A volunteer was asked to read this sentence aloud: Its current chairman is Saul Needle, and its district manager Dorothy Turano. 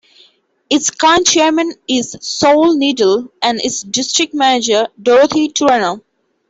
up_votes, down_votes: 2, 0